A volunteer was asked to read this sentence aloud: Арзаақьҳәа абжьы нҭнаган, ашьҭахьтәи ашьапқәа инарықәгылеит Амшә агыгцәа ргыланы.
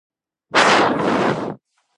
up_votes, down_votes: 0, 2